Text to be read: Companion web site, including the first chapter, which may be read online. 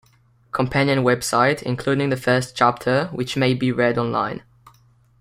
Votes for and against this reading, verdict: 2, 0, accepted